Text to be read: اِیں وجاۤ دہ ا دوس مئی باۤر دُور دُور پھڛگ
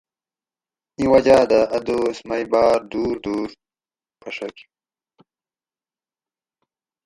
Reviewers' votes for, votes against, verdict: 2, 2, rejected